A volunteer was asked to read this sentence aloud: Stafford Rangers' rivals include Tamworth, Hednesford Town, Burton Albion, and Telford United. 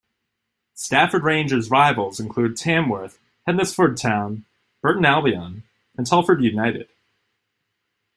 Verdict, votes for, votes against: accepted, 2, 0